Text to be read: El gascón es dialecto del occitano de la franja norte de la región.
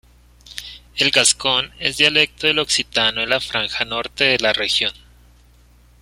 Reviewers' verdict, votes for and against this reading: accepted, 2, 0